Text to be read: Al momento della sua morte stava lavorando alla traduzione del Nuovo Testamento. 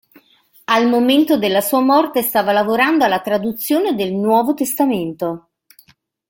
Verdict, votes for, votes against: accepted, 2, 0